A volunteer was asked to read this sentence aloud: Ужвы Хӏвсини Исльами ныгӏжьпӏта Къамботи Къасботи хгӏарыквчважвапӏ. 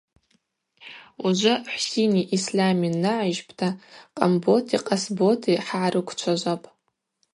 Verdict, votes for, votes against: rejected, 0, 2